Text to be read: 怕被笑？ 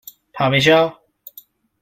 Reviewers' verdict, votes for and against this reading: rejected, 1, 2